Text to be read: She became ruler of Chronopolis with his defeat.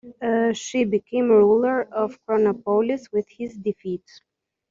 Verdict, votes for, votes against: rejected, 1, 2